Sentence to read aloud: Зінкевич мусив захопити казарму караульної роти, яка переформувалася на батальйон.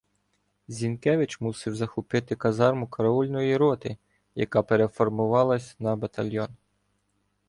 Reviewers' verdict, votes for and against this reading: rejected, 1, 2